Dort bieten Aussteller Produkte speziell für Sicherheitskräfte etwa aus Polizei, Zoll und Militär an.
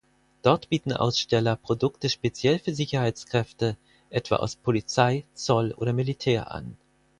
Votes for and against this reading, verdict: 2, 4, rejected